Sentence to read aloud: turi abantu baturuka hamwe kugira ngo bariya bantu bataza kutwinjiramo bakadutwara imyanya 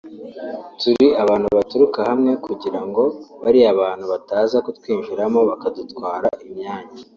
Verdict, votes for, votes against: accepted, 2, 0